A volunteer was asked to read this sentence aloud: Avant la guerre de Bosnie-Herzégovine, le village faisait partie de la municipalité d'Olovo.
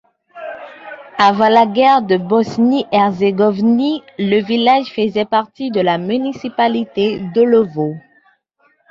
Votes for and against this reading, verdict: 1, 2, rejected